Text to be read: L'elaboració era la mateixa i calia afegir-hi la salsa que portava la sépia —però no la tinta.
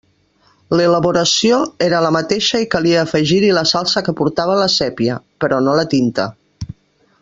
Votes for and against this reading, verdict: 3, 0, accepted